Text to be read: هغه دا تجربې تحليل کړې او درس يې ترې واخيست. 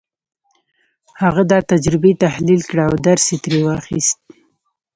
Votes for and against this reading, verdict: 0, 2, rejected